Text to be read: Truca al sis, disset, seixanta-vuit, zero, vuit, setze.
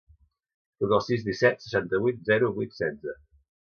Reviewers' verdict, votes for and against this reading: accepted, 2, 0